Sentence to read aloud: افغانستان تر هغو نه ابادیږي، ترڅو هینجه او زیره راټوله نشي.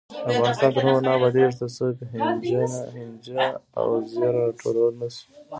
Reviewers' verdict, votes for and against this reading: rejected, 0, 2